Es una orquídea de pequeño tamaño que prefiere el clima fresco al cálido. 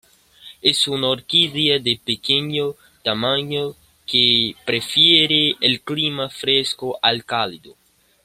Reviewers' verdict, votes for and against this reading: accepted, 2, 0